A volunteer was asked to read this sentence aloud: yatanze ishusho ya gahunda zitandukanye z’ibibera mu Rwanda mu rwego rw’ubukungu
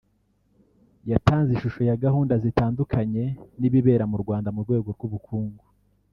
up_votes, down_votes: 1, 2